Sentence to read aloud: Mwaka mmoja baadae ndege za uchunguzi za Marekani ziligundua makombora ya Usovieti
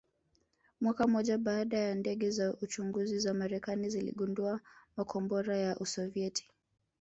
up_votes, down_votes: 0, 2